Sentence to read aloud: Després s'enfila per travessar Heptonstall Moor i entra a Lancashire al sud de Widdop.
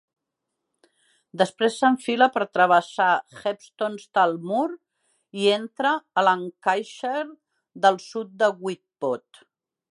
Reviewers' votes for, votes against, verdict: 0, 2, rejected